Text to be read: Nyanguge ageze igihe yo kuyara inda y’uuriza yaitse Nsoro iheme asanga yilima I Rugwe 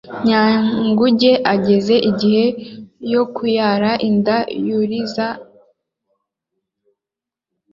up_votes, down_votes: 0, 2